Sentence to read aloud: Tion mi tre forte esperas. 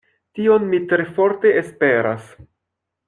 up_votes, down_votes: 2, 0